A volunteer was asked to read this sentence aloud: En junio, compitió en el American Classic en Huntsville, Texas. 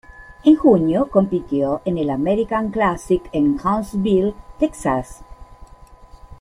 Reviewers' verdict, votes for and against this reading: accepted, 2, 0